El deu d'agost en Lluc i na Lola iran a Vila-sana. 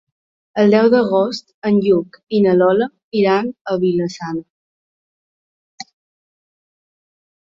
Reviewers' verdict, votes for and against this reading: accepted, 2, 0